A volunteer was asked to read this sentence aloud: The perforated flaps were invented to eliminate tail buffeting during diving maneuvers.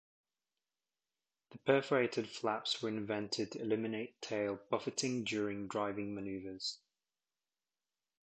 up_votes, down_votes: 1, 2